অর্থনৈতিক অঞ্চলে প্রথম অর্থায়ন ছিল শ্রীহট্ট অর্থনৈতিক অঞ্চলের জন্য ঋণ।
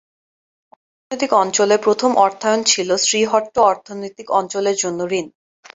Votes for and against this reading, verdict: 1, 2, rejected